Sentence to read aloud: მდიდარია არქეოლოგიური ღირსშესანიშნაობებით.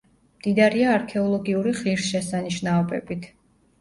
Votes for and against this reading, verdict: 2, 0, accepted